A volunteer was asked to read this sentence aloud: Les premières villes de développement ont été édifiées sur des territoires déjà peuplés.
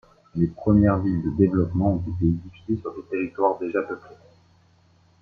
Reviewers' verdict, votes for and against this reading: rejected, 1, 2